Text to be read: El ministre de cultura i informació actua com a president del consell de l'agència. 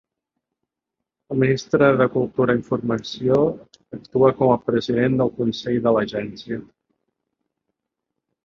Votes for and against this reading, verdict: 0, 2, rejected